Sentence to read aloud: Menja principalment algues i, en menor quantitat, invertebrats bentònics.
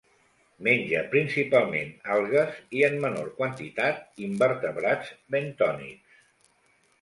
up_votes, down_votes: 2, 0